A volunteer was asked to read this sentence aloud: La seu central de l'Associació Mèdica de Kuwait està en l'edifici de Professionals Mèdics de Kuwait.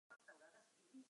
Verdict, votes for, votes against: rejected, 2, 4